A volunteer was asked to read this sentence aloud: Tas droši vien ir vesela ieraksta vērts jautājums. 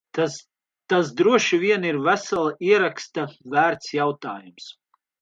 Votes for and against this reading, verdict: 0, 2, rejected